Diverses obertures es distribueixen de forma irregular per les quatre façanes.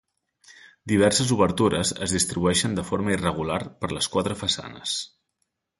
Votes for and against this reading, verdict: 2, 0, accepted